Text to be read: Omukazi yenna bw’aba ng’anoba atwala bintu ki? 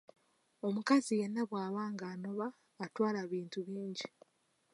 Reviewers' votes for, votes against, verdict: 0, 2, rejected